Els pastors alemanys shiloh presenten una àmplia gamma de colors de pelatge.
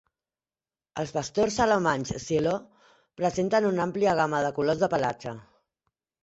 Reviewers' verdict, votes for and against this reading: accepted, 2, 0